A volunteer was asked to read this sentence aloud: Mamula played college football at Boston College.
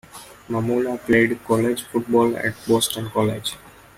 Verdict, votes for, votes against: accepted, 2, 0